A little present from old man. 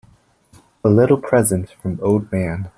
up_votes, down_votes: 2, 0